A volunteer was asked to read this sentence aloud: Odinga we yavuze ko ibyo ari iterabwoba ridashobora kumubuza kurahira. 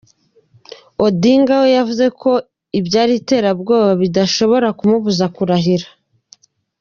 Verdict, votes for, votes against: rejected, 1, 2